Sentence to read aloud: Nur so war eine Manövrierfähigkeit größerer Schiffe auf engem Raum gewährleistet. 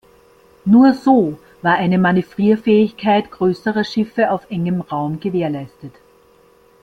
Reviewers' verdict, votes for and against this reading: accepted, 2, 0